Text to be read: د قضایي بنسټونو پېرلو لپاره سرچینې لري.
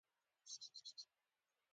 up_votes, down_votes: 0, 2